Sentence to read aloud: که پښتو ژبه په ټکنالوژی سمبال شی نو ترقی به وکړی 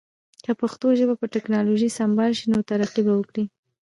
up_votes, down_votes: 0, 2